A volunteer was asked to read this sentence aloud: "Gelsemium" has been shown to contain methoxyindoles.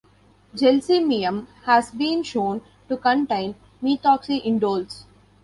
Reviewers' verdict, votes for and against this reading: rejected, 1, 2